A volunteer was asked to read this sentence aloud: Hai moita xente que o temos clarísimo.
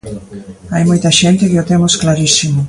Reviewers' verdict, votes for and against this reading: accepted, 2, 0